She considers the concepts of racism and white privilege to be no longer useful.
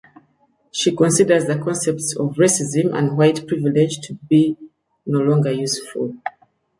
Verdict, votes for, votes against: accepted, 2, 0